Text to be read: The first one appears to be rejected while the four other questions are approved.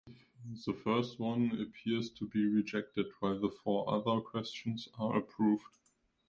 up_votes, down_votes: 2, 0